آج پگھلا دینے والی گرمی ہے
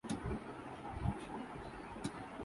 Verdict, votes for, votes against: rejected, 0, 2